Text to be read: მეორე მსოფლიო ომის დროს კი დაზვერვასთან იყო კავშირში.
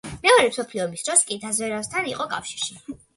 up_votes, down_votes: 2, 1